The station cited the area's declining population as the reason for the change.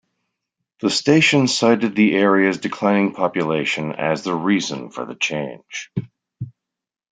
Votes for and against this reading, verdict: 2, 0, accepted